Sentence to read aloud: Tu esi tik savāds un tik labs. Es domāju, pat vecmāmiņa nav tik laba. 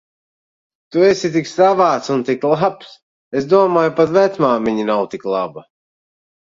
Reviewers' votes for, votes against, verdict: 2, 0, accepted